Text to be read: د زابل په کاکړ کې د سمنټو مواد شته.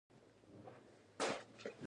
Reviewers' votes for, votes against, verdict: 0, 2, rejected